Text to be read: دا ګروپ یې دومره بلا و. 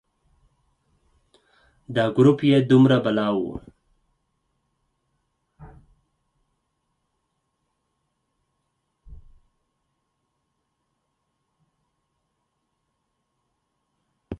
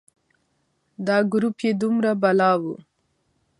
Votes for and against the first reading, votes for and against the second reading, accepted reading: 2, 4, 2, 0, second